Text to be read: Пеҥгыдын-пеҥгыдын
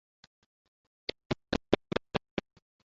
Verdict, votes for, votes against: rejected, 0, 2